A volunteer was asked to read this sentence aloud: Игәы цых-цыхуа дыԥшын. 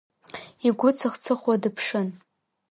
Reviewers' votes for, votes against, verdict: 2, 0, accepted